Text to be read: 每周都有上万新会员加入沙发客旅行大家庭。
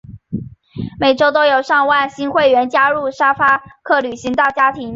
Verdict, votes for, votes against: accepted, 2, 0